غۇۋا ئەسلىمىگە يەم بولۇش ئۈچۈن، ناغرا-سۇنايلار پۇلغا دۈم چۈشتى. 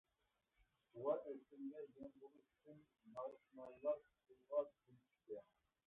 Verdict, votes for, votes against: rejected, 0, 2